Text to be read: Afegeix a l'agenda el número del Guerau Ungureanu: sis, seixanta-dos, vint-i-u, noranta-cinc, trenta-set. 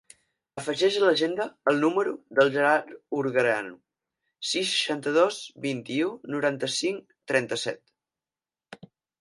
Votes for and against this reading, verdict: 0, 4, rejected